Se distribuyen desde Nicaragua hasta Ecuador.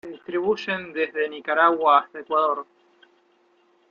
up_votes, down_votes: 2, 0